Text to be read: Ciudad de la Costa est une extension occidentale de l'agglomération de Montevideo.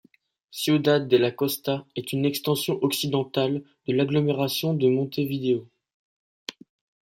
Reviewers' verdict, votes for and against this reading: accepted, 2, 1